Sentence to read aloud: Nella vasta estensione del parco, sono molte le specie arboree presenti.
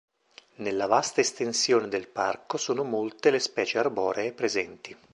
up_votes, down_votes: 2, 0